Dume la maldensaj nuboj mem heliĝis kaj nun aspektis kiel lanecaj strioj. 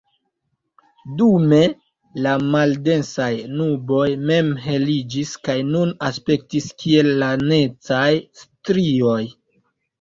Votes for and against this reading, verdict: 2, 0, accepted